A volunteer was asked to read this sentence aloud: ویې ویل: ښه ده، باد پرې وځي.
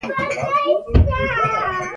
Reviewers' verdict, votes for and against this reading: rejected, 1, 2